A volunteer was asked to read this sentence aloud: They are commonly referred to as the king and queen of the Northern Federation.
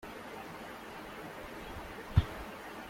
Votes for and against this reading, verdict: 0, 2, rejected